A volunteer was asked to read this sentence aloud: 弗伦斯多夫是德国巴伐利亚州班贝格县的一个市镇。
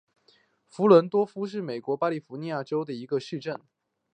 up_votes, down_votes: 0, 2